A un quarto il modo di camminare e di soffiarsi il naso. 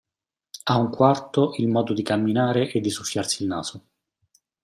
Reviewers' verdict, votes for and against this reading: accepted, 2, 0